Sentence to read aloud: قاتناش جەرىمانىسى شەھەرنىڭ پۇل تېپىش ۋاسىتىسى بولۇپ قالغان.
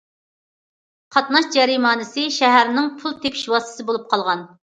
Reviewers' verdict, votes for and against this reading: accepted, 2, 0